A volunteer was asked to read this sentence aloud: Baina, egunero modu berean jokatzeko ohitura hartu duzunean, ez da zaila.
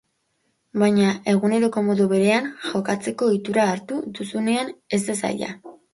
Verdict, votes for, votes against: rejected, 0, 2